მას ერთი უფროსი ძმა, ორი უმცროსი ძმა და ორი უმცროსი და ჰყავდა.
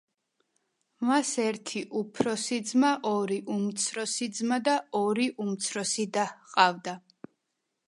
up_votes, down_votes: 2, 0